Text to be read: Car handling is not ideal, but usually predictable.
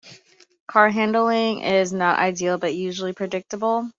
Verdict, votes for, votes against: accepted, 2, 0